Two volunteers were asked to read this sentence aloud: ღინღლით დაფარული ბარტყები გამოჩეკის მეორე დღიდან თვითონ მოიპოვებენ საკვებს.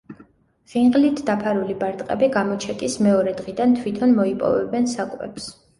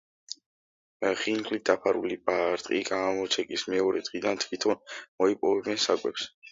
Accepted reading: first